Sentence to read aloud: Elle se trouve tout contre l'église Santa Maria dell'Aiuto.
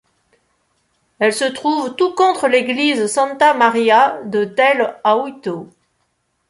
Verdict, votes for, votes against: rejected, 0, 2